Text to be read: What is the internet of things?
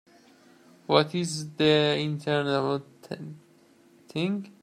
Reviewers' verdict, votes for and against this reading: rejected, 0, 2